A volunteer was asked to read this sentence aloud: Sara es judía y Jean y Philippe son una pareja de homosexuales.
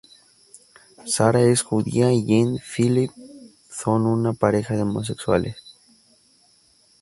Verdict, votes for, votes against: rejected, 2, 2